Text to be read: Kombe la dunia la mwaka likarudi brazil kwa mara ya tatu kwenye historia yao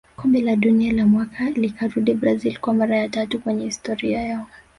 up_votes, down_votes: 0, 2